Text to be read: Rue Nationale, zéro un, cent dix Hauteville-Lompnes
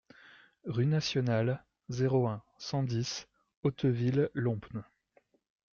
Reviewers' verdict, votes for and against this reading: accepted, 2, 0